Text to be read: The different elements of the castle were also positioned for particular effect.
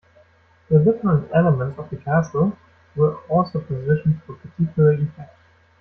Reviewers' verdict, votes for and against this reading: accepted, 2, 1